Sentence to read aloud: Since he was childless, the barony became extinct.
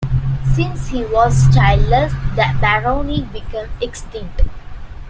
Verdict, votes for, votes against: accepted, 2, 1